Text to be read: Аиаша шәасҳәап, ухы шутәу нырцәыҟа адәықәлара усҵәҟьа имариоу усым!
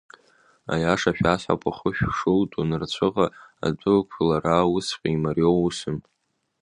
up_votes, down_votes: 0, 2